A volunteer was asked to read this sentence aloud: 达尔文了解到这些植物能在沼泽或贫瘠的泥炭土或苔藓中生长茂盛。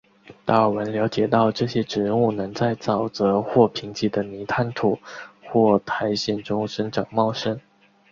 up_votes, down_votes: 2, 2